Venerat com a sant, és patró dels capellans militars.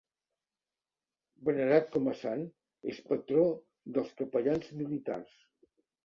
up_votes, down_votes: 2, 0